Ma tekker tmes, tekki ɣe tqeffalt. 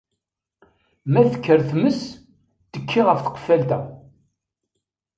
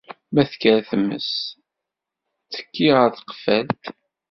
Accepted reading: first